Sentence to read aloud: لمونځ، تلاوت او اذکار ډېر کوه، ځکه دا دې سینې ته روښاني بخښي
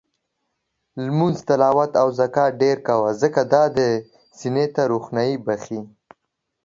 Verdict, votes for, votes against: rejected, 0, 2